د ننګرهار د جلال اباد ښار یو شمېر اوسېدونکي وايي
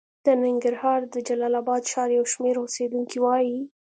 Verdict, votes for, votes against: accepted, 2, 0